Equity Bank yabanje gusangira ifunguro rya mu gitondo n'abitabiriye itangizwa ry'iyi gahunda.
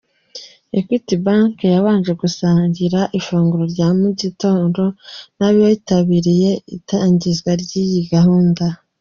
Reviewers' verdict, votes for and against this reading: accepted, 2, 1